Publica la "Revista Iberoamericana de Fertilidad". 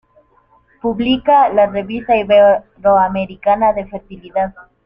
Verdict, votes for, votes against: rejected, 0, 2